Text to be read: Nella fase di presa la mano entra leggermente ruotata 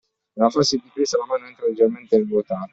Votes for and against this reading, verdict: 0, 2, rejected